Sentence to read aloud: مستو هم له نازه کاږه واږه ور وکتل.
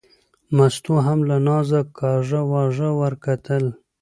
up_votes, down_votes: 2, 0